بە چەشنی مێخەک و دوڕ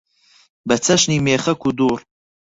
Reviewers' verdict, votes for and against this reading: accepted, 4, 2